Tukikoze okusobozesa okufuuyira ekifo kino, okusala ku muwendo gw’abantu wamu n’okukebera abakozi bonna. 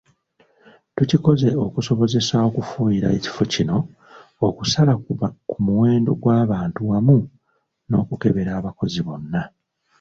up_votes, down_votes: 0, 2